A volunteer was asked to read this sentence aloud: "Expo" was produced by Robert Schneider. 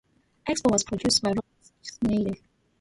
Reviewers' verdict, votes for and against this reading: rejected, 0, 2